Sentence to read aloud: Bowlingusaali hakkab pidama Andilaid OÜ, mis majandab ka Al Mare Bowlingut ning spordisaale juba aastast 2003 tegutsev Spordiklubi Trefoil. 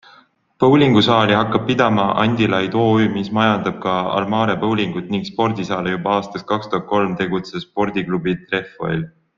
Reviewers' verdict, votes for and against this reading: rejected, 0, 2